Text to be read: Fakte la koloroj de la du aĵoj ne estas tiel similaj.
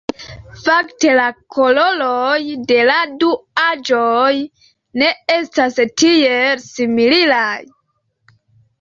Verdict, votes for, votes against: rejected, 0, 5